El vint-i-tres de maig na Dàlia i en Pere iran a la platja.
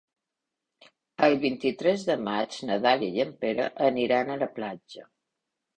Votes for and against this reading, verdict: 0, 2, rejected